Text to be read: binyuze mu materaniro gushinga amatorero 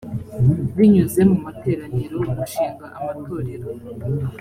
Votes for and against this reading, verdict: 3, 0, accepted